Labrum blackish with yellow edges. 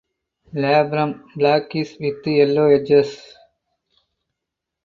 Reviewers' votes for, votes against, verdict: 4, 2, accepted